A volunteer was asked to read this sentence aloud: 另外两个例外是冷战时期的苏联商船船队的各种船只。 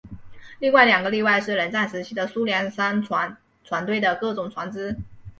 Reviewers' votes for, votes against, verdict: 2, 3, rejected